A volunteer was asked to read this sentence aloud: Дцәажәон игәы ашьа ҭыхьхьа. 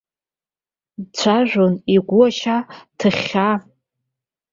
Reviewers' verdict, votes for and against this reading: accepted, 2, 0